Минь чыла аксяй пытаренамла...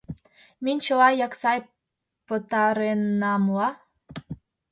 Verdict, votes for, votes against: rejected, 1, 2